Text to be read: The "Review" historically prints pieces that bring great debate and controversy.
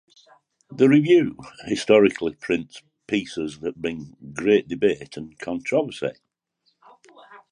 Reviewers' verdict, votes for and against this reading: accepted, 2, 1